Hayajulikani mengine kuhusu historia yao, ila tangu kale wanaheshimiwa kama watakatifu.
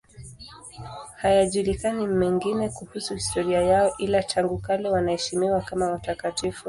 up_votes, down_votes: 1, 2